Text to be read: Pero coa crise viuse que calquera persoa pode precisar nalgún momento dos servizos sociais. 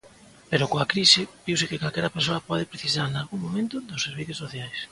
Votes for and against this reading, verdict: 2, 0, accepted